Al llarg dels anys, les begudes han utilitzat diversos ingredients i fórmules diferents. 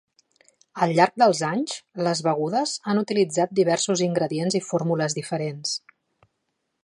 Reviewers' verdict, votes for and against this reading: accepted, 3, 0